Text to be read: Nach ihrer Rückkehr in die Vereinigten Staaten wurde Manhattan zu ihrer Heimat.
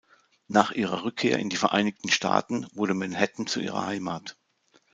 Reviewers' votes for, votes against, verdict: 2, 0, accepted